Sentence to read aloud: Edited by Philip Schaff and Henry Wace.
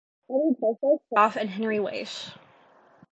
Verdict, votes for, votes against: rejected, 0, 2